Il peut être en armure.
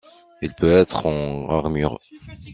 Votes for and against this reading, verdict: 2, 0, accepted